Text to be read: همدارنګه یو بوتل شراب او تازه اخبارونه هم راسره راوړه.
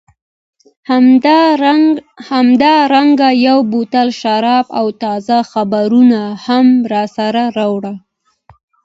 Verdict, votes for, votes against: rejected, 0, 2